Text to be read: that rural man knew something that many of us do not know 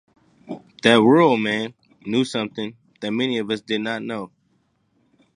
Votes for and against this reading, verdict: 0, 2, rejected